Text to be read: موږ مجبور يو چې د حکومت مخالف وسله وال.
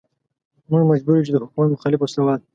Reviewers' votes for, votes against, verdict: 2, 1, accepted